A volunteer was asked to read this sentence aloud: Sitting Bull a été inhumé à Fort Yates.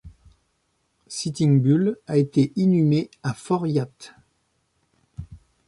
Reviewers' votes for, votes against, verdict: 0, 2, rejected